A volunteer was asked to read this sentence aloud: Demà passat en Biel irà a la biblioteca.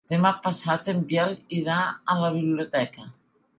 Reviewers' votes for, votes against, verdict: 2, 0, accepted